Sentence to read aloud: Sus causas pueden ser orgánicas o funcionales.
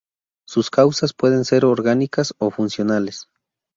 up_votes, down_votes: 2, 0